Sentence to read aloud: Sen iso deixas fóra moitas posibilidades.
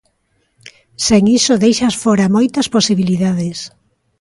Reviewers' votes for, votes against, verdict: 2, 0, accepted